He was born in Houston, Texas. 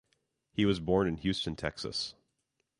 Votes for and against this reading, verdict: 2, 0, accepted